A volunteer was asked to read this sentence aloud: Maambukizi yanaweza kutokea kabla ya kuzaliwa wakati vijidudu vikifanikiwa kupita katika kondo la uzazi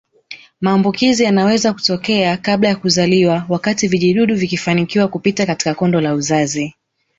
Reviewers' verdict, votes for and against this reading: accepted, 2, 0